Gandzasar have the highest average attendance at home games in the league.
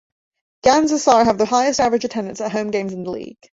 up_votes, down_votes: 0, 2